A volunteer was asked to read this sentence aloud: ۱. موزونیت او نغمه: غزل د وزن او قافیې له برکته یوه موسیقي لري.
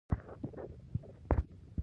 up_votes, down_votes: 0, 2